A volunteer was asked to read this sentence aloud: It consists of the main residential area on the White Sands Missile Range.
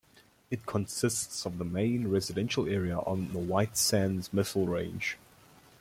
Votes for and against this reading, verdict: 2, 0, accepted